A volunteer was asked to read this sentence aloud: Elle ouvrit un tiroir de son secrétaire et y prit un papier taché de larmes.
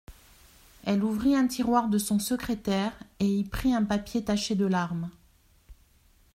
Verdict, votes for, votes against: accepted, 2, 0